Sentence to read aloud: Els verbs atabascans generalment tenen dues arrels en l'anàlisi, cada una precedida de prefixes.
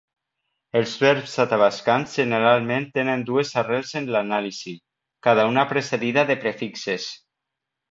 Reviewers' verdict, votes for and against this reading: accepted, 2, 0